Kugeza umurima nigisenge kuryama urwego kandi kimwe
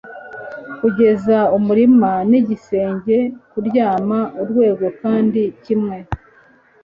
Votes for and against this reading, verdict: 2, 0, accepted